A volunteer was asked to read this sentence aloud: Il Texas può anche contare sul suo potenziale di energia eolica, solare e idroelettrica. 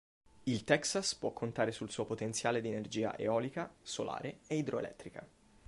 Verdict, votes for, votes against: rejected, 3, 4